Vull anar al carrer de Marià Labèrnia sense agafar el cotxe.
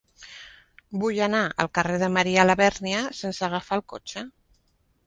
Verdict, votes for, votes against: accepted, 3, 0